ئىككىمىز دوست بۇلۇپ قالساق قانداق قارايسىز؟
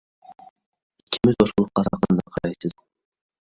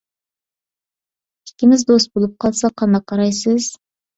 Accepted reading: second